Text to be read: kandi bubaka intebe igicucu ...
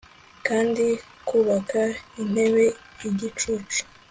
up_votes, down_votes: 2, 0